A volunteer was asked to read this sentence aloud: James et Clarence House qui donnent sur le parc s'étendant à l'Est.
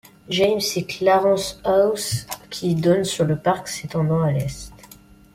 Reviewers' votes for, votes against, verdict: 2, 1, accepted